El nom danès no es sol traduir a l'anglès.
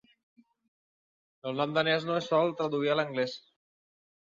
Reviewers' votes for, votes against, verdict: 4, 0, accepted